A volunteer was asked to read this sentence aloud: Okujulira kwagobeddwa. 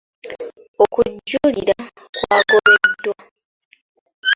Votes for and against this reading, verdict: 2, 0, accepted